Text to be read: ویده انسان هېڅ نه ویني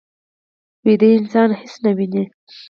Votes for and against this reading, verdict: 4, 0, accepted